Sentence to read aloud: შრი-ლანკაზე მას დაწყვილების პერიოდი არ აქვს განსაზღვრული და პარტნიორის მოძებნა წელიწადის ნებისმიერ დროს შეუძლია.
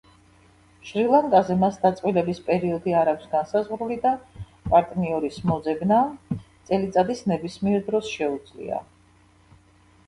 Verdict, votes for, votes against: rejected, 0, 2